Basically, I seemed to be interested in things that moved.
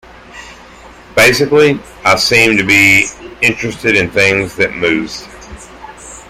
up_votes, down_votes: 2, 1